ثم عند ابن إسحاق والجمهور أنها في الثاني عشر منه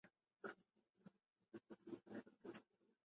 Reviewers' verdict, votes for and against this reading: rejected, 0, 2